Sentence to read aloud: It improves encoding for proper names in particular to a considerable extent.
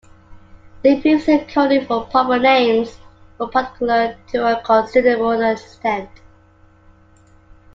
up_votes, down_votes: 0, 2